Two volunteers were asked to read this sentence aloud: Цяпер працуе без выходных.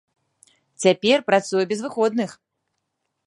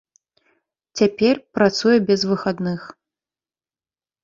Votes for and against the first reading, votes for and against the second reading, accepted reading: 2, 0, 1, 2, first